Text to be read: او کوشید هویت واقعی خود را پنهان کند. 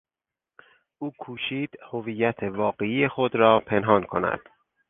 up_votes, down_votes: 4, 0